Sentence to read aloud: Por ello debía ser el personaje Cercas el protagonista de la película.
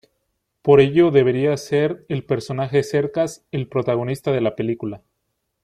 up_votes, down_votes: 0, 2